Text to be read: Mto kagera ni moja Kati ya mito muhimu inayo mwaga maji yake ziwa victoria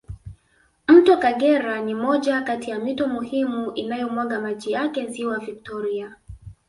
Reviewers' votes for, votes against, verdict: 2, 0, accepted